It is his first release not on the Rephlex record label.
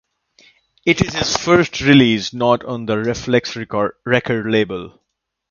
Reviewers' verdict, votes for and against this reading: rejected, 0, 2